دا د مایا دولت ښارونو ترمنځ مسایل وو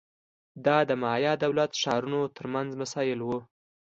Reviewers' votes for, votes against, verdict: 2, 0, accepted